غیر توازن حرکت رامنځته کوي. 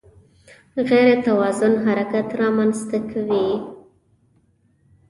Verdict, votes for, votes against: accepted, 2, 0